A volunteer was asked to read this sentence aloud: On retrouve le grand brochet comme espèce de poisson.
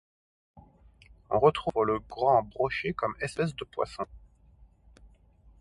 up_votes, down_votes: 2, 1